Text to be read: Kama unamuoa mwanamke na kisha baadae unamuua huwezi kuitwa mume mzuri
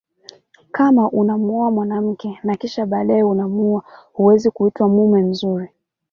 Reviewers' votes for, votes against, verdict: 1, 2, rejected